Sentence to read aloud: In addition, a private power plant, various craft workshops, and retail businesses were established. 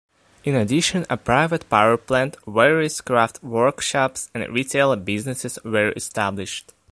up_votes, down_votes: 2, 0